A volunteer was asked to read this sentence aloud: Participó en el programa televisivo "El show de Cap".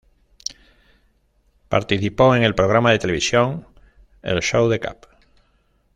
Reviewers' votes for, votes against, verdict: 0, 2, rejected